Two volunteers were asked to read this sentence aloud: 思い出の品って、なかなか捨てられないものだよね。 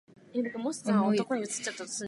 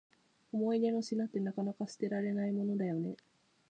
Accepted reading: second